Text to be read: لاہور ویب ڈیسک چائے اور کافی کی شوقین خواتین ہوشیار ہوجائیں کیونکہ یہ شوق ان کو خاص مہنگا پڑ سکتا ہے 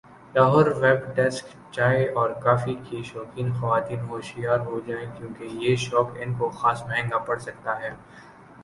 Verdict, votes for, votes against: accepted, 2, 0